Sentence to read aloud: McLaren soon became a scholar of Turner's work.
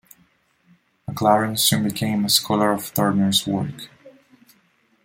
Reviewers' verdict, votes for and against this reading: rejected, 1, 2